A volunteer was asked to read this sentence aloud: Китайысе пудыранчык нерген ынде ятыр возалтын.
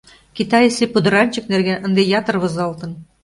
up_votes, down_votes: 2, 0